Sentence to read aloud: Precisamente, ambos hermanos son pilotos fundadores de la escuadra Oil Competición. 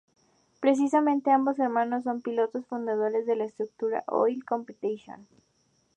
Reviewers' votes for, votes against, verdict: 0, 2, rejected